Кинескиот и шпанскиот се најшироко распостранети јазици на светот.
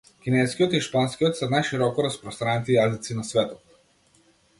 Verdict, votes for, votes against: accepted, 2, 0